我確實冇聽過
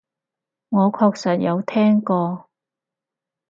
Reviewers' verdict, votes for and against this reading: rejected, 0, 4